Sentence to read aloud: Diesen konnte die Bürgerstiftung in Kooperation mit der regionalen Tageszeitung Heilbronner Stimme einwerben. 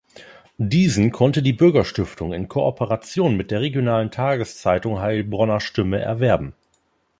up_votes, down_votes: 0, 4